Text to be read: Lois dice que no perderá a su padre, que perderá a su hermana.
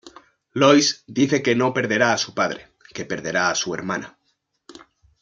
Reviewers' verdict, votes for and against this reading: accepted, 2, 0